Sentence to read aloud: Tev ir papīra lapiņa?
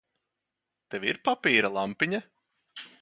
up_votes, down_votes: 0, 2